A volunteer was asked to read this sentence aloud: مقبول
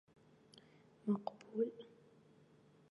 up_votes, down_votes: 0, 2